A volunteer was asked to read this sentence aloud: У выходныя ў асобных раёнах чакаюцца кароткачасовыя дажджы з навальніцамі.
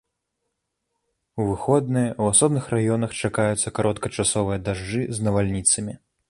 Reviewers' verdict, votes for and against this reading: accepted, 2, 1